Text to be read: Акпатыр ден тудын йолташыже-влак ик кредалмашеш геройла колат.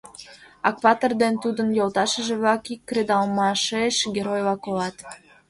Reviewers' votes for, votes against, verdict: 2, 0, accepted